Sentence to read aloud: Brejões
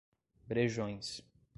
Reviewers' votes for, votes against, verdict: 2, 0, accepted